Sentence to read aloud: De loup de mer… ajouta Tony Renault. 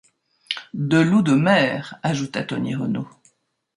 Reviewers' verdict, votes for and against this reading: accepted, 2, 0